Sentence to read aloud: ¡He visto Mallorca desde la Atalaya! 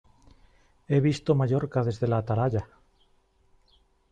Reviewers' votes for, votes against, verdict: 2, 0, accepted